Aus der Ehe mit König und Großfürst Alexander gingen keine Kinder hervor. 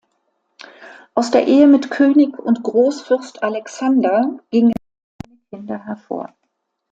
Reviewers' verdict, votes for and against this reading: rejected, 0, 2